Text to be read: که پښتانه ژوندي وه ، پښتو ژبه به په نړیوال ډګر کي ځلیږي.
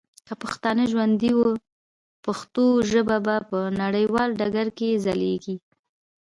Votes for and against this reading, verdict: 2, 0, accepted